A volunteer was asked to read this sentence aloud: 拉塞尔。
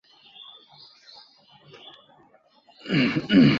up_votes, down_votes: 0, 5